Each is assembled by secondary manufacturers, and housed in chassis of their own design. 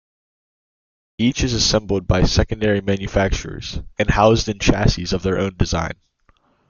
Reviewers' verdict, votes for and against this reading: accepted, 2, 0